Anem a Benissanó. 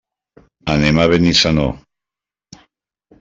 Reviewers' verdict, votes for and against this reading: accepted, 3, 0